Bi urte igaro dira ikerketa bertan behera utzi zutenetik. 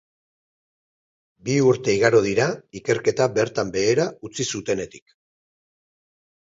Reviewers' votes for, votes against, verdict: 2, 2, rejected